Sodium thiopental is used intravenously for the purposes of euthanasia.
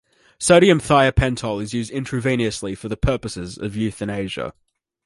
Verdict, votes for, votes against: accepted, 2, 0